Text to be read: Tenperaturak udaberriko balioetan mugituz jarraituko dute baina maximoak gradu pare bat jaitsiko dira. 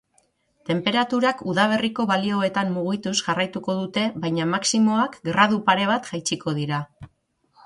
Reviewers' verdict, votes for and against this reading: rejected, 3, 3